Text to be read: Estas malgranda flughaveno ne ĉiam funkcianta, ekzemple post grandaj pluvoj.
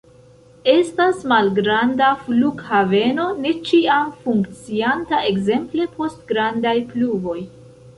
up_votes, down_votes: 2, 1